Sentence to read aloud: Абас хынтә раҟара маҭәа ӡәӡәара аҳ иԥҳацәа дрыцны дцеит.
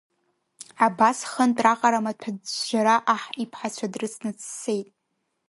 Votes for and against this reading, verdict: 1, 2, rejected